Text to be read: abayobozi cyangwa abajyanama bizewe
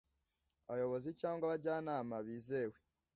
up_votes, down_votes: 2, 0